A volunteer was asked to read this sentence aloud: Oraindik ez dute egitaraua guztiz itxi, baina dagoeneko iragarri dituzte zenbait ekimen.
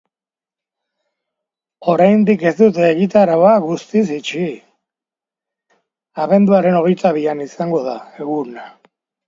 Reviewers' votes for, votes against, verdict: 0, 3, rejected